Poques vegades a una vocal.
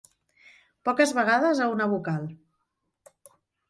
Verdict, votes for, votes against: accepted, 3, 0